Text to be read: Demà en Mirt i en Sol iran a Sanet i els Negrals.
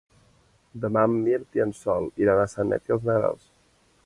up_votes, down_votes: 1, 2